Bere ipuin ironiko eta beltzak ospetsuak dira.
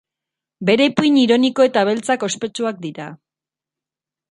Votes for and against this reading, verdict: 2, 0, accepted